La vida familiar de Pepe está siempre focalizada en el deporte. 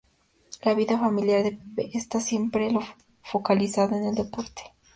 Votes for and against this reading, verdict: 0, 2, rejected